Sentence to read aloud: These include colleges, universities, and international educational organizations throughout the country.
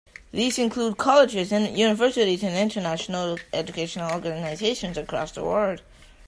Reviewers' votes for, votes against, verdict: 0, 2, rejected